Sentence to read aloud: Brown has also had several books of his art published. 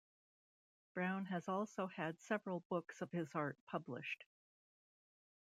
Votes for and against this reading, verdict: 2, 0, accepted